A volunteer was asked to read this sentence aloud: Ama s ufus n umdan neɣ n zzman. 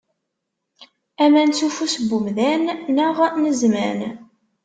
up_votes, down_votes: 0, 2